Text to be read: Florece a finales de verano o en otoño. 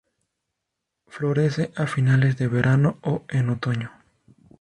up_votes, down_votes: 2, 0